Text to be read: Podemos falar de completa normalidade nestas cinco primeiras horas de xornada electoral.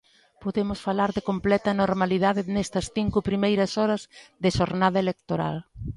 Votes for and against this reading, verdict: 2, 0, accepted